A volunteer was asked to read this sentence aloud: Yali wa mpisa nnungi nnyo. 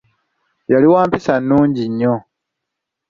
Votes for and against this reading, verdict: 2, 0, accepted